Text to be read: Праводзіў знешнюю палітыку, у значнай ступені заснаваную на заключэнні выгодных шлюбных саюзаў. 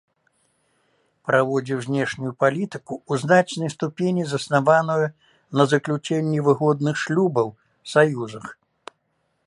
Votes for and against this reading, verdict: 0, 3, rejected